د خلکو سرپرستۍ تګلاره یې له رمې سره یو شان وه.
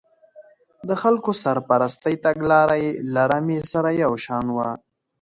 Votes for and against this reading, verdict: 3, 1, accepted